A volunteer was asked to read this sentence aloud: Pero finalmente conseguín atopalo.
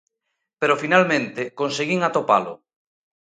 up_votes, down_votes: 2, 0